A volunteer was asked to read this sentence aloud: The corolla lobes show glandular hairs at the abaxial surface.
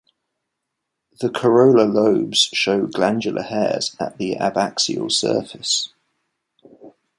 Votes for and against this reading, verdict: 2, 0, accepted